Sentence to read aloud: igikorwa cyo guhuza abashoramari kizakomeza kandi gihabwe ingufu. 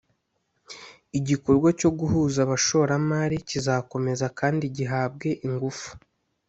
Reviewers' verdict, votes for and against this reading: accepted, 2, 0